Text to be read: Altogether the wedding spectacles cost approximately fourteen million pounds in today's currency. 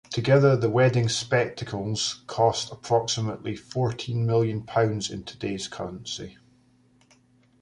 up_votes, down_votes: 0, 2